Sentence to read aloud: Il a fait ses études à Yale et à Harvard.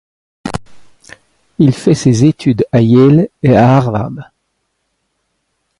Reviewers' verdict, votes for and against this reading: rejected, 0, 2